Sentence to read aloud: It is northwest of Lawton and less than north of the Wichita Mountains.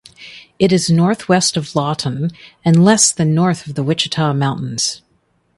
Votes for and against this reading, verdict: 2, 0, accepted